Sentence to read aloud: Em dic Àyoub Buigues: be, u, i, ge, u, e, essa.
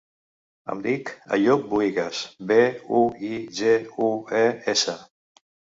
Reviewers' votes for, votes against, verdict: 2, 0, accepted